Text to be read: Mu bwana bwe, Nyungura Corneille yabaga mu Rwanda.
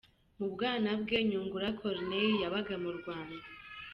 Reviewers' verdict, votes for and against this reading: accepted, 2, 0